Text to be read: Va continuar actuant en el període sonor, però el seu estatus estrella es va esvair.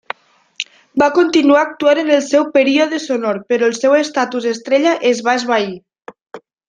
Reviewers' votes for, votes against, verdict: 2, 1, accepted